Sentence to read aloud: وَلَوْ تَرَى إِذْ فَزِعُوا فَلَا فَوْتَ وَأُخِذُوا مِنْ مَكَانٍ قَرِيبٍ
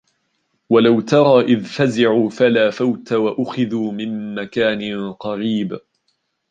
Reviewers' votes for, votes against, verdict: 2, 0, accepted